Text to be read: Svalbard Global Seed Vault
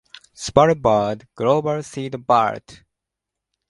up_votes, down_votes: 0, 2